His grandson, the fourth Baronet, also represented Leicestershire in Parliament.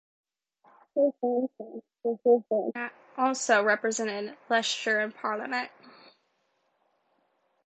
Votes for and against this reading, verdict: 0, 2, rejected